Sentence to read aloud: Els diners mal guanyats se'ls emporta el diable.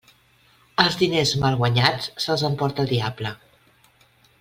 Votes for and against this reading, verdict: 2, 0, accepted